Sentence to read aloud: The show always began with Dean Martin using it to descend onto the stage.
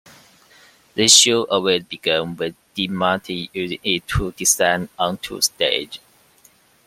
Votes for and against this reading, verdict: 2, 1, accepted